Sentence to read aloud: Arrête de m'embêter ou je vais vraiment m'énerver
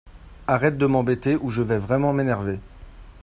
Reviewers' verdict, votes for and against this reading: accepted, 2, 0